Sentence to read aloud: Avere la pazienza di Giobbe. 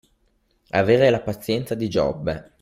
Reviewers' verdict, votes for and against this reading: accepted, 2, 0